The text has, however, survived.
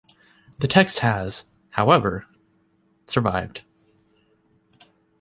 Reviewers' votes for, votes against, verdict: 2, 0, accepted